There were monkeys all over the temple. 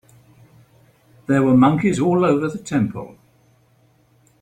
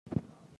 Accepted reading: first